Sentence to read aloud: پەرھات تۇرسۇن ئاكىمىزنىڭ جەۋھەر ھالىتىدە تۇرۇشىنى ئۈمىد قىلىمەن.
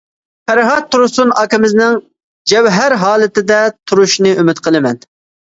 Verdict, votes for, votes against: accepted, 2, 0